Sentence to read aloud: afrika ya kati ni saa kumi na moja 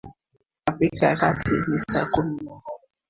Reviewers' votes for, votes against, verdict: 1, 2, rejected